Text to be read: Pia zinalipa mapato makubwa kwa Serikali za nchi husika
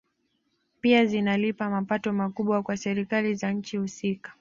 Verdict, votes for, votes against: accepted, 2, 1